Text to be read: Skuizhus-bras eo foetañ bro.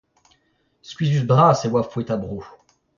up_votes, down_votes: 0, 2